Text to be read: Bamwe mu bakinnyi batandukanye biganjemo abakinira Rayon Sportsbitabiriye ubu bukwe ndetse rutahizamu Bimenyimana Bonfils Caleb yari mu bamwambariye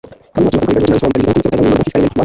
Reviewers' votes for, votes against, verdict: 1, 2, rejected